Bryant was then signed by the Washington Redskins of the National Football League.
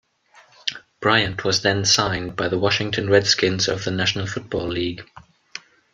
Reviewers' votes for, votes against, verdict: 2, 0, accepted